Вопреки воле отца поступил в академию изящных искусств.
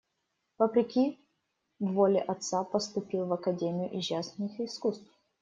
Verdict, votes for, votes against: rejected, 0, 2